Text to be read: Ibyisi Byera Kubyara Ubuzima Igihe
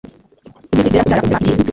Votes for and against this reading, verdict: 1, 2, rejected